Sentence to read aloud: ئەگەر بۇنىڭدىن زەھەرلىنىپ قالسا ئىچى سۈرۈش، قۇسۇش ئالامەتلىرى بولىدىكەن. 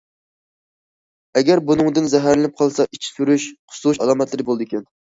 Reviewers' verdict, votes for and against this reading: accepted, 2, 0